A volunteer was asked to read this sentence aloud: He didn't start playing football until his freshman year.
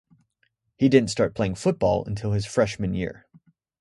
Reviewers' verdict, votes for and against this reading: accepted, 2, 0